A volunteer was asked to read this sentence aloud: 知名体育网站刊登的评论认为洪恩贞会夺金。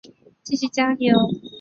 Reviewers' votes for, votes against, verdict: 0, 5, rejected